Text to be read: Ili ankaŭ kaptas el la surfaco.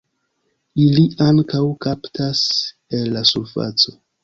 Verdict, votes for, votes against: accepted, 2, 0